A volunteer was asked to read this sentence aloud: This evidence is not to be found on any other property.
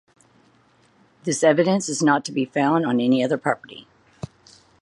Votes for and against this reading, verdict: 4, 0, accepted